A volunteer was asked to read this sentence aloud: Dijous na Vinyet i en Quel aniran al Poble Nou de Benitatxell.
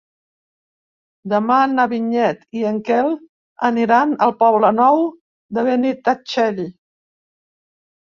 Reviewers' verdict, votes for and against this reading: rejected, 0, 2